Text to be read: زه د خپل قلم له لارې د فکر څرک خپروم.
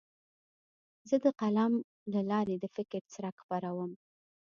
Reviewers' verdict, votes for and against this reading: accepted, 2, 0